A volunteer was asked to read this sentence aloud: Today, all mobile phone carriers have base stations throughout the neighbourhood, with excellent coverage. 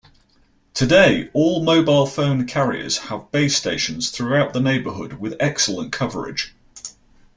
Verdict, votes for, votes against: accepted, 2, 0